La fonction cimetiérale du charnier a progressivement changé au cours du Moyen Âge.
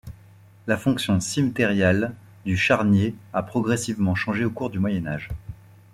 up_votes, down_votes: 2, 3